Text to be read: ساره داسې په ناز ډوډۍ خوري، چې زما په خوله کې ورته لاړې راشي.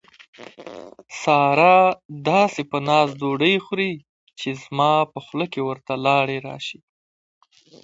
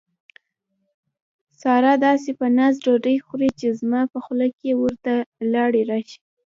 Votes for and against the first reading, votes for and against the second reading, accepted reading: 2, 1, 1, 2, first